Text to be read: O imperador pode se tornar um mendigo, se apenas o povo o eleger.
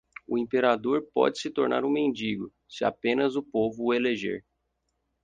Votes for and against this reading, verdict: 4, 0, accepted